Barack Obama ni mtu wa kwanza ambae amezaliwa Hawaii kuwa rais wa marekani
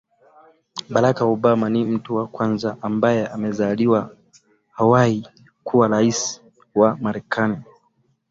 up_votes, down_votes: 2, 0